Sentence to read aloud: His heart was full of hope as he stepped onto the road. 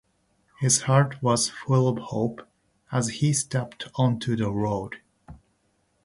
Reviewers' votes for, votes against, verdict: 3, 1, accepted